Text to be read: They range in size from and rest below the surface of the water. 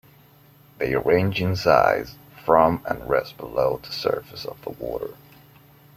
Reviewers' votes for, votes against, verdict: 2, 0, accepted